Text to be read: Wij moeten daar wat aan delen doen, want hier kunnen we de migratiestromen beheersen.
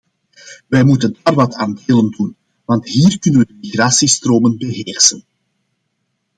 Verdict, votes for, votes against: rejected, 0, 2